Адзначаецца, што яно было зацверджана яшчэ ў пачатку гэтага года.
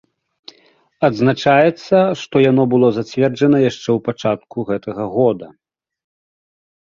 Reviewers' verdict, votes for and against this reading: accepted, 2, 0